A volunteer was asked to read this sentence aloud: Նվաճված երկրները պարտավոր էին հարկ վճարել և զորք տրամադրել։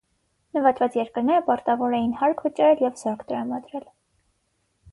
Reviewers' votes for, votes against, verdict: 6, 0, accepted